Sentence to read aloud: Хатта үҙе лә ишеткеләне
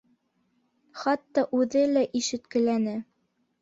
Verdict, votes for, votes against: accepted, 2, 0